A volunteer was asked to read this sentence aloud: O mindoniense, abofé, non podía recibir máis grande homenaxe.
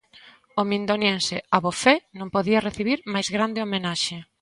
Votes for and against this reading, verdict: 2, 0, accepted